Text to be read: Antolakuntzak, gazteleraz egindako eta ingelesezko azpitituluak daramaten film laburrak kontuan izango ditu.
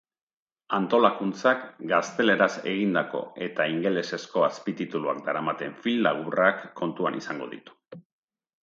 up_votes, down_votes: 7, 0